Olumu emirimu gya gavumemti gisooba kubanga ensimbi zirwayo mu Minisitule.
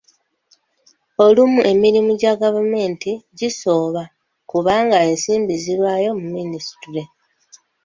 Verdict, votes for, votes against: accepted, 2, 0